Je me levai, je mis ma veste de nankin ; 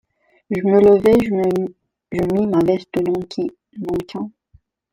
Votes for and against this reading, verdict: 0, 2, rejected